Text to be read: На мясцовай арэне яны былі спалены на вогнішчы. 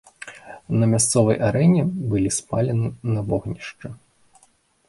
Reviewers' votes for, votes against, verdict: 0, 2, rejected